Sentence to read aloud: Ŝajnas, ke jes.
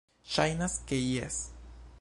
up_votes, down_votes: 2, 1